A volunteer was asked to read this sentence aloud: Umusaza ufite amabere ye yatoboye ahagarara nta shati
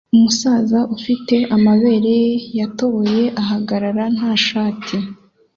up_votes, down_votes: 2, 0